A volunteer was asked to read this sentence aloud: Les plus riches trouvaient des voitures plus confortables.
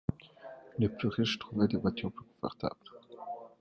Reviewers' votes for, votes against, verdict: 2, 1, accepted